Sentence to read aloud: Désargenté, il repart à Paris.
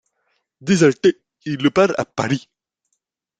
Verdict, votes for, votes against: rejected, 1, 2